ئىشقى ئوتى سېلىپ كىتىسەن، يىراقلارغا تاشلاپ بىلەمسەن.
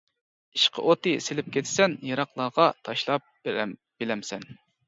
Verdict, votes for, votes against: rejected, 0, 2